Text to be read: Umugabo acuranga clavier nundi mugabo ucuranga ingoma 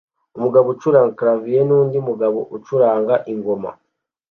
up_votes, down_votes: 2, 0